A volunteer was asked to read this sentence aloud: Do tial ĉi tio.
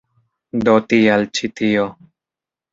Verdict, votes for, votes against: accepted, 2, 0